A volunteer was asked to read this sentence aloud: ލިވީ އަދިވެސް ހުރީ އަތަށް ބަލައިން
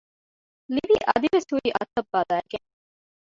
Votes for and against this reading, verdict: 0, 2, rejected